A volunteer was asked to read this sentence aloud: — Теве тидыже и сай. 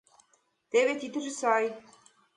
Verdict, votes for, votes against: rejected, 0, 2